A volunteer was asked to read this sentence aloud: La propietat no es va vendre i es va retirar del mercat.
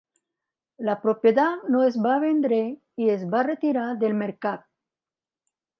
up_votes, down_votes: 2, 1